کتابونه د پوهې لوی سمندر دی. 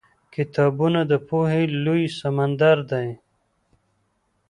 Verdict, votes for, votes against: rejected, 0, 2